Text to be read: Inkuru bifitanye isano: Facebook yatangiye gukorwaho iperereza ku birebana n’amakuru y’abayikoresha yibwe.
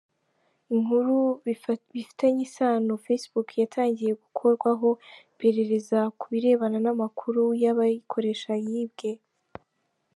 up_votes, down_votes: 0, 2